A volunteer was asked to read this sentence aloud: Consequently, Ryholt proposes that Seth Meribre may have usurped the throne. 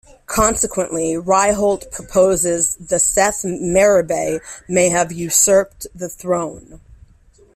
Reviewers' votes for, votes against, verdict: 2, 1, accepted